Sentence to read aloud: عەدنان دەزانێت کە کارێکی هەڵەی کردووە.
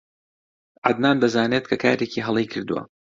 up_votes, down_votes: 2, 0